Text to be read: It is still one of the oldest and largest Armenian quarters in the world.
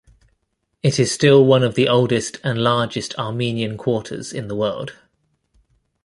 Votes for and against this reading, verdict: 2, 0, accepted